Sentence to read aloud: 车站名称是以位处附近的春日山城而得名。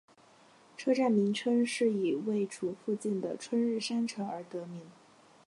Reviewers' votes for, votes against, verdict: 3, 0, accepted